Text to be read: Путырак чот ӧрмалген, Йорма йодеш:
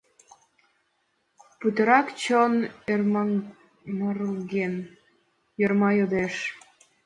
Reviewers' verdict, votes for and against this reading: rejected, 0, 2